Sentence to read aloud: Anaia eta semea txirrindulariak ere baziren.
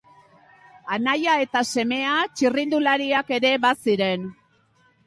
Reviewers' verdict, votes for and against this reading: accepted, 2, 0